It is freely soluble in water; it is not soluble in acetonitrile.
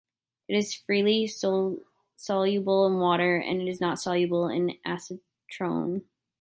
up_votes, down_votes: 0, 2